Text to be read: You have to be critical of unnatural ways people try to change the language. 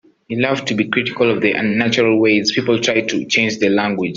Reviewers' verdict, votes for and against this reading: rejected, 0, 2